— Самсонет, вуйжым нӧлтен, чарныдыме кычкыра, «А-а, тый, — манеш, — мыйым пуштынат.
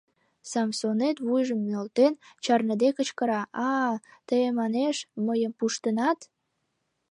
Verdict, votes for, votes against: rejected, 0, 2